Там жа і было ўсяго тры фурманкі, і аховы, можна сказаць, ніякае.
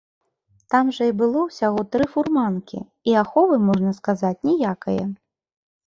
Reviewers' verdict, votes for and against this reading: rejected, 1, 2